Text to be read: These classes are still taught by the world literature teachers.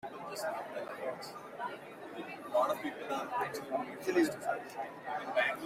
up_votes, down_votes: 0, 2